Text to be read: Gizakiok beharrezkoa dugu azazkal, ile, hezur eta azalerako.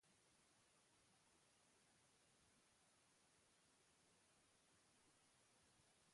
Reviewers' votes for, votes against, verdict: 0, 2, rejected